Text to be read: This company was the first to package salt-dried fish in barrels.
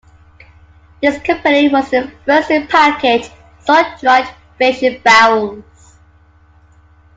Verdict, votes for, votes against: accepted, 3, 0